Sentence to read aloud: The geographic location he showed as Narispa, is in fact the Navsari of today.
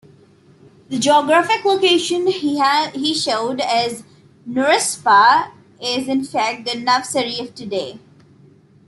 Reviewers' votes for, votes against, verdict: 2, 0, accepted